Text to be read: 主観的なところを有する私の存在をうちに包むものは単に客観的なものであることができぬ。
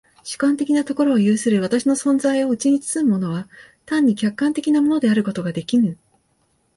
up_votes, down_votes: 1, 2